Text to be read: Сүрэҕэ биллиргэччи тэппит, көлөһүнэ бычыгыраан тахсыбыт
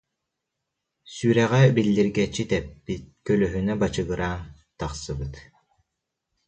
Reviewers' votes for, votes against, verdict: 0, 2, rejected